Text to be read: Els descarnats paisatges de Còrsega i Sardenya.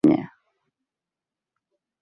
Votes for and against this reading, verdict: 0, 2, rejected